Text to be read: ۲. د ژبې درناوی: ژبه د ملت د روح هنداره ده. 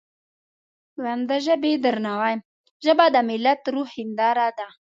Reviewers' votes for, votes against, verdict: 0, 2, rejected